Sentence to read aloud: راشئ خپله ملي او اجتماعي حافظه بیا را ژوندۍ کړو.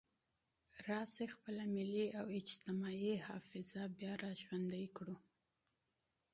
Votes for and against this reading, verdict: 2, 0, accepted